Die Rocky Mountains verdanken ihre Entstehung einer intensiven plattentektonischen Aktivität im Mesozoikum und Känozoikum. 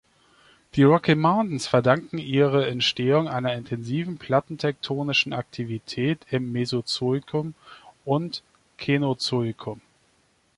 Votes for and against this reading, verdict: 2, 0, accepted